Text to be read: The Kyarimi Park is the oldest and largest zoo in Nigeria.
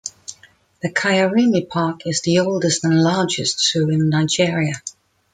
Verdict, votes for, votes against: accepted, 2, 0